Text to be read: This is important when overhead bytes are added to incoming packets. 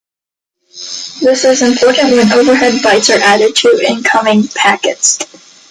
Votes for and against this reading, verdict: 2, 1, accepted